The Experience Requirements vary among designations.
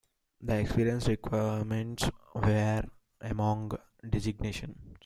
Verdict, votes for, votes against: rejected, 0, 2